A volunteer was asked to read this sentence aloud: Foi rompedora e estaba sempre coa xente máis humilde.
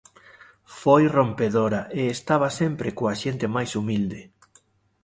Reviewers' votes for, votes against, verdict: 2, 0, accepted